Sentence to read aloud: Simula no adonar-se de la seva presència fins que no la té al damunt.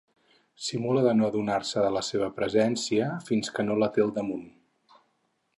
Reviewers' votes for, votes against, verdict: 2, 4, rejected